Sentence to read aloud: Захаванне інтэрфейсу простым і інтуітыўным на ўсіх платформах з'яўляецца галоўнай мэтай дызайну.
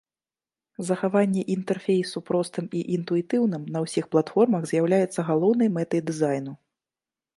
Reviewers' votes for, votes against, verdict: 2, 0, accepted